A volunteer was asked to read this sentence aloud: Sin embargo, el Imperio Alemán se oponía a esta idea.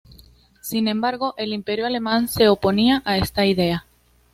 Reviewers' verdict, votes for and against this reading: accepted, 2, 0